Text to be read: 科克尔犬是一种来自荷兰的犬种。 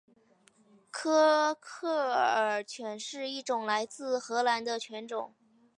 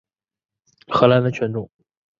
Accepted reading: first